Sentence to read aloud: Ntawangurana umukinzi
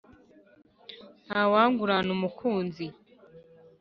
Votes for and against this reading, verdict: 1, 2, rejected